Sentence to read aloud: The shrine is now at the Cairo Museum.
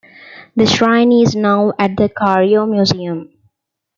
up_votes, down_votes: 2, 0